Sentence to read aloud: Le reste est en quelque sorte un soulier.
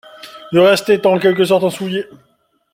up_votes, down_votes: 1, 2